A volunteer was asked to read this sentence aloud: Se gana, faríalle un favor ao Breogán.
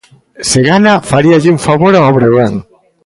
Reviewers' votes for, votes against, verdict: 2, 0, accepted